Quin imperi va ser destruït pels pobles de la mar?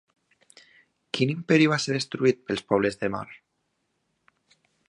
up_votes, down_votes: 0, 2